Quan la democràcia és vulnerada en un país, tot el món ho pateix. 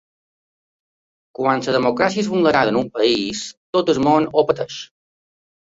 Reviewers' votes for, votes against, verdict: 0, 2, rejected